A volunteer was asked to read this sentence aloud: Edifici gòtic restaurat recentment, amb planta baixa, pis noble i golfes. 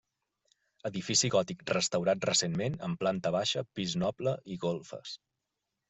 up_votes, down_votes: 3, 0